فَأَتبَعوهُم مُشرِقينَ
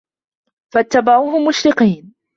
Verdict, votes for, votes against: accepted, 2, 1